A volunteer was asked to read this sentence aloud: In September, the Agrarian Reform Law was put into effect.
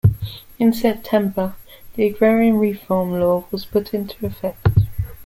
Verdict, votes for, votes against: rejected, 0, 2